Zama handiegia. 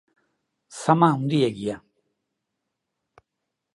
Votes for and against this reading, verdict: 2, 0, accepted